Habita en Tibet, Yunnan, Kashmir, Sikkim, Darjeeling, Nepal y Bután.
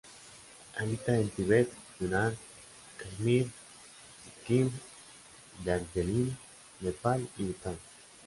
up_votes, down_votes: 0, 2